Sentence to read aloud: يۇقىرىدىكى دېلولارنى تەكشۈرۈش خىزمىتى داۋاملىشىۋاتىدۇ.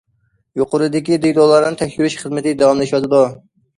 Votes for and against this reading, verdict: 1, 2, rejected